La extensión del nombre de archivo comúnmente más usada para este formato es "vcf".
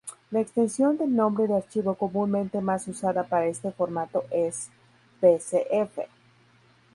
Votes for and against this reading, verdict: 0, 2, rejected